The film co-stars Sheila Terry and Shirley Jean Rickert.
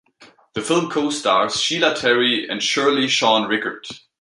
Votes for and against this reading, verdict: 1, 2, rejected